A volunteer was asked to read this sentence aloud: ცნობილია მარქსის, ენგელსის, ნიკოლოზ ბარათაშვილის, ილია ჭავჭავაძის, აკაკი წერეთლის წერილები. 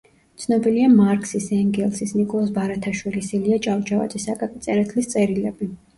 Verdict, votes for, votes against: accepted, 2, 0